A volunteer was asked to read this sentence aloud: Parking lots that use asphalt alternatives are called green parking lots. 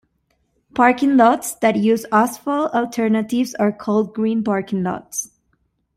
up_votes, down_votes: 2, 0